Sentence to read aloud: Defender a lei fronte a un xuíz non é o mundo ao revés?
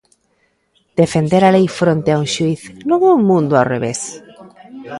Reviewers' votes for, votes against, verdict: 2, 0, accepted